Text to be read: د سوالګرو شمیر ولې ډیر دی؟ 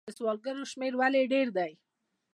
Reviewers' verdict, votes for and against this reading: accepted, 2, 0